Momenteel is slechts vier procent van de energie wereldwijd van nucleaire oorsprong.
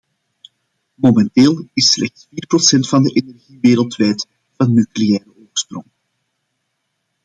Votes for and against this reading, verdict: 0, 2, rejected